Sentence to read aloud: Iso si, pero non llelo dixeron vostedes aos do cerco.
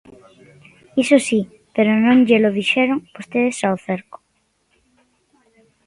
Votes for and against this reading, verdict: 0, 2, rejected